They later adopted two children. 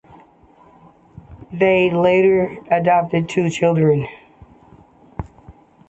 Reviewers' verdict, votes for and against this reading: accepted, 2, 0